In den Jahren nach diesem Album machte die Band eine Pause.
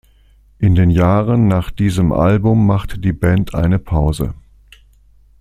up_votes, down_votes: 2, 0